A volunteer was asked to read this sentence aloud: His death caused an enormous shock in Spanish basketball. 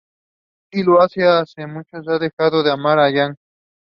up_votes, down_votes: 0, 2